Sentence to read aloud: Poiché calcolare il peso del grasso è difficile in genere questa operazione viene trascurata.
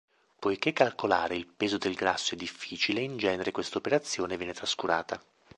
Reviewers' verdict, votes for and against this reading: accepted, 2, 0